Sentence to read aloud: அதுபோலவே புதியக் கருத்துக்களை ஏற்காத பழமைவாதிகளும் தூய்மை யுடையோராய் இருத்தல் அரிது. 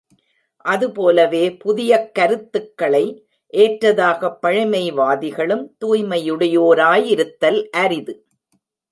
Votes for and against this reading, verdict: 1, 2, rejected